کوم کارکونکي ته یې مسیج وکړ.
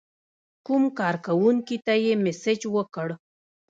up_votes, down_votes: 1, 2